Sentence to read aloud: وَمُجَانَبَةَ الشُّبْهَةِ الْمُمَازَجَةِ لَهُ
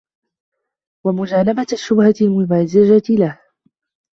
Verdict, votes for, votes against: rejected, 1, 2